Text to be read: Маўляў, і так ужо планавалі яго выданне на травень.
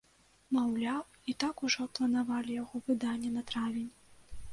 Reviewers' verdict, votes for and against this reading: accepted, 2, 0